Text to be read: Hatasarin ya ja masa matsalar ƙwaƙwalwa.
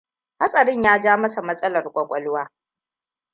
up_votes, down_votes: 2, 0